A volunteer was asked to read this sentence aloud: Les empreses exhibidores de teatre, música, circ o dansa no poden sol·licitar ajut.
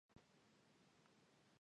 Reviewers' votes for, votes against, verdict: 1, 2, rejected